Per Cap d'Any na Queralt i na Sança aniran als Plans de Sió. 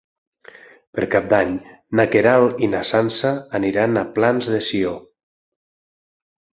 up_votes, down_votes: 3, 6